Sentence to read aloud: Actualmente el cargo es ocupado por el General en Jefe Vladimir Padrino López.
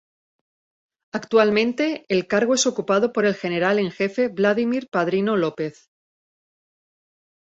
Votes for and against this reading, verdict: 4, 0, accepted